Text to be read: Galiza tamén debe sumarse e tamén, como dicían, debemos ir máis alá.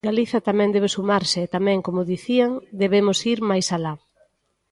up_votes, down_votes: 2, 0